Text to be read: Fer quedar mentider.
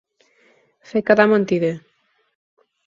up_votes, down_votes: 4, 0